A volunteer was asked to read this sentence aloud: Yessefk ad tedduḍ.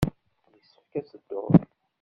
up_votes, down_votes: 0, 2